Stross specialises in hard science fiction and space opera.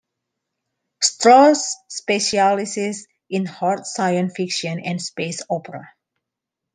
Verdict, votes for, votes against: rejected, 1, 2